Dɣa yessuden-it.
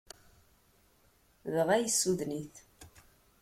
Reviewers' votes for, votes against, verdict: 2, 0, accepted